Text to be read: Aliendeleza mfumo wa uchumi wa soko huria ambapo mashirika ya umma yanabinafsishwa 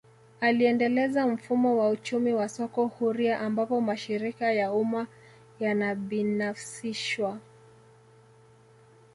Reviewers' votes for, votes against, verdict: 1, 2, rejected